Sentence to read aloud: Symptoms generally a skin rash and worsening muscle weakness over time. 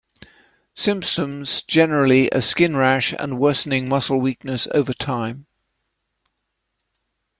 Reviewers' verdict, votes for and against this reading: rejected, 0, 2